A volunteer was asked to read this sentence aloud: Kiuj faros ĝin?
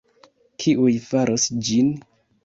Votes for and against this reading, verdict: 2, 0, accepted